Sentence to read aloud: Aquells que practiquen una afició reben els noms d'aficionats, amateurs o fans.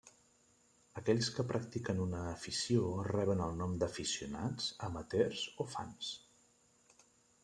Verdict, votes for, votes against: rejected, 0, 3